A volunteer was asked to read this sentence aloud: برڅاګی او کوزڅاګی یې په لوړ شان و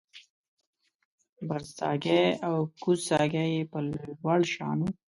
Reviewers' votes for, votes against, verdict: 2, 1, accepted